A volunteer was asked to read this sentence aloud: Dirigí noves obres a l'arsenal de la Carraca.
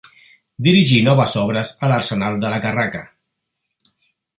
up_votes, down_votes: 3, 0